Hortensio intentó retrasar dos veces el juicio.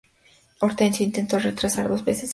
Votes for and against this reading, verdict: 0, 2, rejected